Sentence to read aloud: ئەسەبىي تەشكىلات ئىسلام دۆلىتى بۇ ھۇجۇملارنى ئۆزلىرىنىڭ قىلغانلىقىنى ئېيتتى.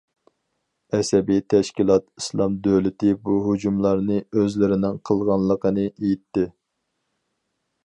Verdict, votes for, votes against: accepted, 4, 0